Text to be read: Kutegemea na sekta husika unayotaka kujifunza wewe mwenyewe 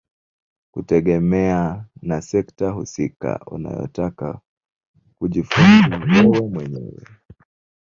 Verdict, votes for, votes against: rejected, 1, 2